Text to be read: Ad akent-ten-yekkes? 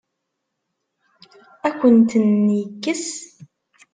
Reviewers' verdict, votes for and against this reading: rejected, 1, 2